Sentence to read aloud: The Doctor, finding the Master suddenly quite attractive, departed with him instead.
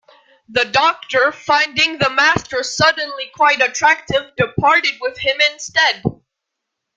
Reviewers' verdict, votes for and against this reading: accepted, 2, 0